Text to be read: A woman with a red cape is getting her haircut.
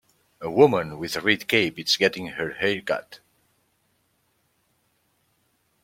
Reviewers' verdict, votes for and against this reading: rejected, 1, 2